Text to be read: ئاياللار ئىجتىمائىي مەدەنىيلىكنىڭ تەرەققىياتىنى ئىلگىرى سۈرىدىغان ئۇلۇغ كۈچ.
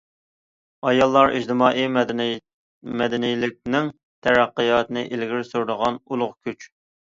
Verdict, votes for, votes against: rejected, 1, 2